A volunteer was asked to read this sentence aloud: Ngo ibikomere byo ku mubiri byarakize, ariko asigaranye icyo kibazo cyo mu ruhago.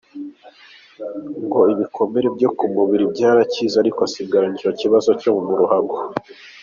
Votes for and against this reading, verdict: 2, 1, accepted